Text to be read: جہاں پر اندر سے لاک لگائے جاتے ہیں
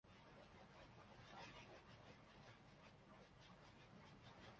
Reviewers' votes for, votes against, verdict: 2, 2, rejected